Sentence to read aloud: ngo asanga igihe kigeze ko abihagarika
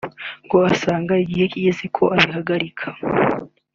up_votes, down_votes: 2, 0